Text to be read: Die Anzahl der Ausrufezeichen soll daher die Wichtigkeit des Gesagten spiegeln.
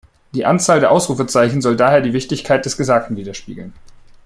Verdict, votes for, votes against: rejected, 1, 2